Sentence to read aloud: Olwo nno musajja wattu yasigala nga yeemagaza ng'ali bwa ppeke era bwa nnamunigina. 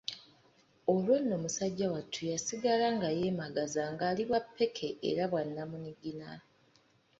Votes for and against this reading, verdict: 2, 0, accepted